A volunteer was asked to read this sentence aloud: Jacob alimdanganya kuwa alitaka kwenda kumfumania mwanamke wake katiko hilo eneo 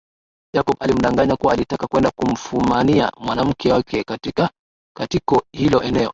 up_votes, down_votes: 0, 2